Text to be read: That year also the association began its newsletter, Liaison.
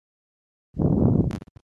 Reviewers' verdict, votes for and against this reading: rejected, 0, 2